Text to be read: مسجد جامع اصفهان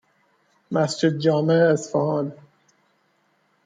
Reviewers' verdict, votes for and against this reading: accepted, 2, 0